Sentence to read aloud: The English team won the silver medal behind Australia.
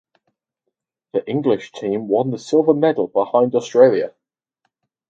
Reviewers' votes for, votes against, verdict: 2, 2, rejected